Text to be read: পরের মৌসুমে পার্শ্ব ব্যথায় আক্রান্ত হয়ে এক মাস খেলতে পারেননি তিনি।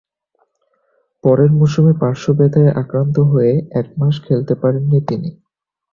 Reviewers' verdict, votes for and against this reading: accepted, 7, 0